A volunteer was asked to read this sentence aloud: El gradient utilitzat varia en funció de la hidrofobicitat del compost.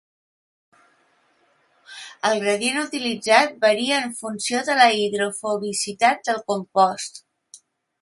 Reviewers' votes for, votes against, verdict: 2, 0, accepted